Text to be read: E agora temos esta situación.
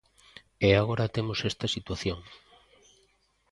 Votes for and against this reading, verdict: 2, 0, accepted